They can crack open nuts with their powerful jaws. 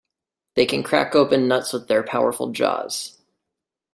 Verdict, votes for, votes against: accepted, 2, 0